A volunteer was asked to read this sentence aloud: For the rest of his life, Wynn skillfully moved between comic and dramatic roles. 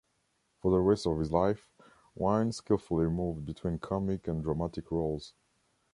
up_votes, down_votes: 2, 3